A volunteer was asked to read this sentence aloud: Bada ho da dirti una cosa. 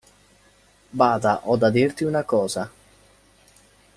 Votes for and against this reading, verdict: 2, 0, accepted